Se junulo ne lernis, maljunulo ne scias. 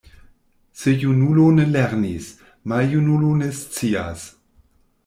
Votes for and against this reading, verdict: 2, 0, accepted